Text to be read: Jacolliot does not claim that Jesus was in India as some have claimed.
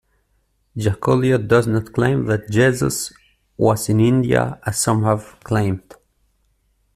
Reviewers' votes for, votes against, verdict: 2, 0, accepted